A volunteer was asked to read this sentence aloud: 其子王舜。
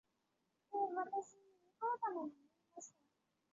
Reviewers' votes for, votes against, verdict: 0, 2, rejected